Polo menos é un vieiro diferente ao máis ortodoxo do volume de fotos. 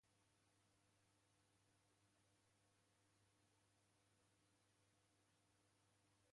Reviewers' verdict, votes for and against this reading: rejected, 0, 3